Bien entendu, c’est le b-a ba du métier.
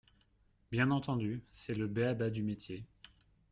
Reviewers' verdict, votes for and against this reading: accepted, 2, 0